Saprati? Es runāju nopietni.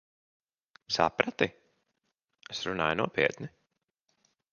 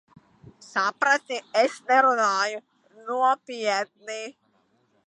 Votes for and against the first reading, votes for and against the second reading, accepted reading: 2, 0, 0, 2, first